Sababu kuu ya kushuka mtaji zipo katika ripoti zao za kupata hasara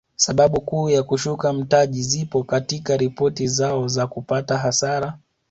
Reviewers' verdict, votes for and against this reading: accepted, 2, 0